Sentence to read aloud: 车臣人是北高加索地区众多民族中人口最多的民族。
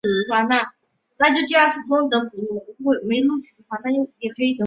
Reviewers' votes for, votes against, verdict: 2, 3, rejected